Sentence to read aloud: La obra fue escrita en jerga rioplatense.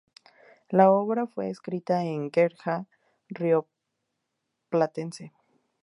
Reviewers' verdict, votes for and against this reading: rejected, 0, 2